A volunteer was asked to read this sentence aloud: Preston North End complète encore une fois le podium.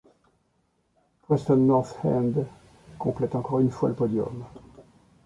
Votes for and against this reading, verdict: 0, 2, rejected